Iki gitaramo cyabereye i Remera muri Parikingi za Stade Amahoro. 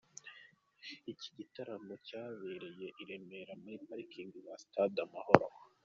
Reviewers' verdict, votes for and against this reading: accepted, 2, 0